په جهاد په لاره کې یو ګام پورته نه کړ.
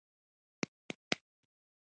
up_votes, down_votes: 0, 2